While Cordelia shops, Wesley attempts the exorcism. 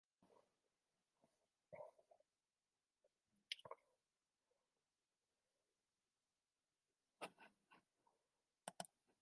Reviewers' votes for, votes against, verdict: 0, 2, rejected